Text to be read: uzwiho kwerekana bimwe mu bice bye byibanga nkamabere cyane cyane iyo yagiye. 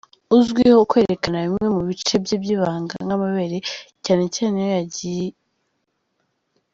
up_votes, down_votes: 2, 0